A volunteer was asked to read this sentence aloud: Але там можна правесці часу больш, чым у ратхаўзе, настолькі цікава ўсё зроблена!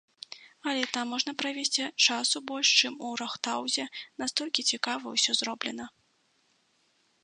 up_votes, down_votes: 0, 2